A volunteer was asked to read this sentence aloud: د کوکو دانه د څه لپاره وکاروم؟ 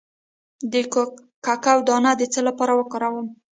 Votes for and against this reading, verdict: 0, 2, rejected